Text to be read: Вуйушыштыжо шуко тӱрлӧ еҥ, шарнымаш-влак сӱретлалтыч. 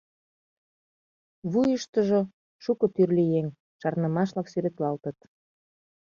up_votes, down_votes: 0, 2